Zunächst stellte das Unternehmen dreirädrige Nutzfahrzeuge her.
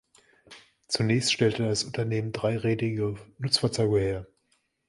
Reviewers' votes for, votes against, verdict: 1, 2, rejected